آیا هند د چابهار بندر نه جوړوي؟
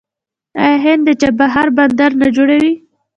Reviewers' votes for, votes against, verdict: 2, 0, accepted